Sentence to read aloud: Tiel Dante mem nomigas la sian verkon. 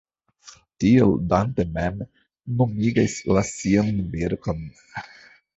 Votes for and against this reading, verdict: 1, 3, rejected